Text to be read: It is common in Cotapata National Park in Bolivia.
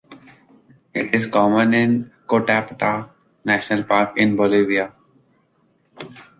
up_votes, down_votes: 2, 0